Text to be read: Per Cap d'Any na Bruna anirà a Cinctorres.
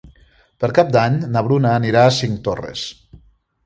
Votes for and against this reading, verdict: 2, 0, accepted